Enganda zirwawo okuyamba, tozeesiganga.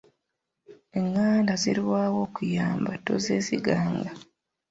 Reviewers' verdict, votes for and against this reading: accepted, 2, 1